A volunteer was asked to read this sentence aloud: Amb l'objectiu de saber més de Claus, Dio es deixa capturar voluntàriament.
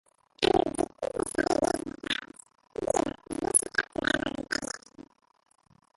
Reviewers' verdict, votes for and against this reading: rejected, 0, 2